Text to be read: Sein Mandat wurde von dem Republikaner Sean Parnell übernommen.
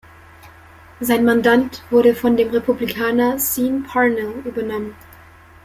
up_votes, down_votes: 3, 2